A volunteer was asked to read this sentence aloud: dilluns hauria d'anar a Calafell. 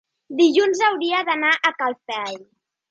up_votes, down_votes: 0, 2